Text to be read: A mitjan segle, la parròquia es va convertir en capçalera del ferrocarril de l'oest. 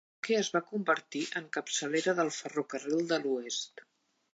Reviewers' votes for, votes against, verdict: 1, 2, rejected